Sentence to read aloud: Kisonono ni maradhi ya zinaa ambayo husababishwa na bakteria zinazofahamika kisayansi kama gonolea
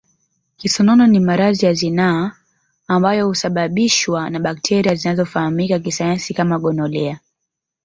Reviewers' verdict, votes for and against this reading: rejected, 1, 2